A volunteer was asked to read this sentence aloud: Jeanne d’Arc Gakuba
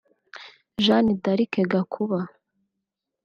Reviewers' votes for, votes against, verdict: 1, 2, rejected